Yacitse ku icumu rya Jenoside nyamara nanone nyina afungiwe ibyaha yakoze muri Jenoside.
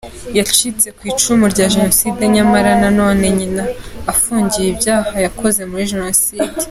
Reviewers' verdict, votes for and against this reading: accepted, 2, 0